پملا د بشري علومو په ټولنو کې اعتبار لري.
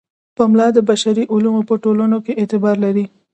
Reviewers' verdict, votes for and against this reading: accepted, 2, 1